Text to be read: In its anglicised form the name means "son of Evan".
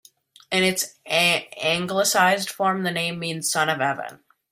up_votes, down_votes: 0, 2